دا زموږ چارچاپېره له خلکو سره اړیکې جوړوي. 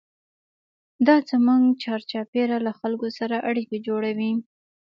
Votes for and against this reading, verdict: 2, 0, accepted